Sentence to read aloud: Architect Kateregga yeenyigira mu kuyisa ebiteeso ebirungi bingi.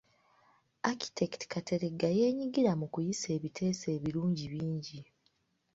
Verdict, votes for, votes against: rejected, 1, 2